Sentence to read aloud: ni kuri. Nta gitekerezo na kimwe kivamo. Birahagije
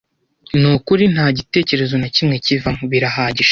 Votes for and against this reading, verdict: 2, 0, accepted